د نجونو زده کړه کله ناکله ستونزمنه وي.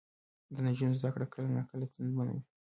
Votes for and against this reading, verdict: 0, 2, rejected